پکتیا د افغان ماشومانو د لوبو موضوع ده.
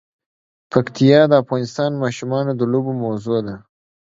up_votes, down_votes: 1, 2